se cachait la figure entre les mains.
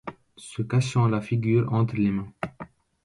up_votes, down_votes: 1, 2